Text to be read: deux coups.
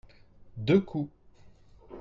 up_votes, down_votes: 2, 0